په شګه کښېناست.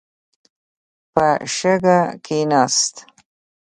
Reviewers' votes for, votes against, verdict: 2, 0, accepted